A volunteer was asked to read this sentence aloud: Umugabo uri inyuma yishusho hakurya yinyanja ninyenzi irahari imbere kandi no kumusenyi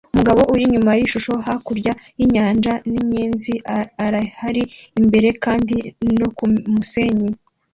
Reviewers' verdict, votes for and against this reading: rejected, 1, 2